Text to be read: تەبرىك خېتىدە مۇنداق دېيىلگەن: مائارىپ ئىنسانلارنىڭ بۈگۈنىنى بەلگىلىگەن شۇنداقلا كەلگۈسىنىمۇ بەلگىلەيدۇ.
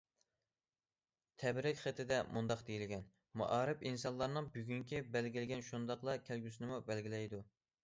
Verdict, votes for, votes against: rejected, 1, 2